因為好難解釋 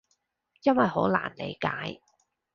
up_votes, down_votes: 0, 2